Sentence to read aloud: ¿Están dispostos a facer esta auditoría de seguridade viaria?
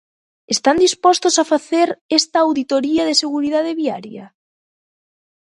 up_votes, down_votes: 2, 0